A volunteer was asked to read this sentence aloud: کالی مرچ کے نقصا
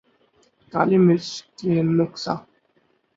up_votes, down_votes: 4, 0